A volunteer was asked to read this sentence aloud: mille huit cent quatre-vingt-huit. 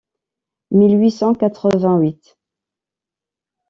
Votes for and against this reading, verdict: 2, 0, accepted